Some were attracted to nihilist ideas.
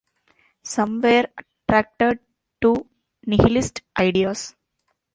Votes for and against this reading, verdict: 1, 2, rejected